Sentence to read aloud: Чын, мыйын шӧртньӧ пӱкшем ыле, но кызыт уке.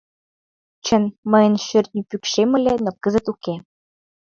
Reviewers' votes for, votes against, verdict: 2, 0, accepted